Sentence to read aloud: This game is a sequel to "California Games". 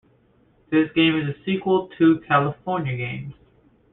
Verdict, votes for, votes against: accepted, 2, 0